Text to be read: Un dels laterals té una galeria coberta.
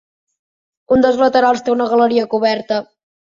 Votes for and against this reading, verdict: 3, 0, accepted